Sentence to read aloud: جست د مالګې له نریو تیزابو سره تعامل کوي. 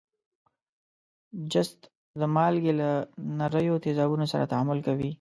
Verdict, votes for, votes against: accepted, 2, 1